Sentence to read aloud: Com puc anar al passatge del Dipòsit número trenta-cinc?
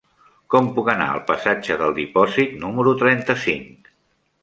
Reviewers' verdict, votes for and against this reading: rejected, 1, 2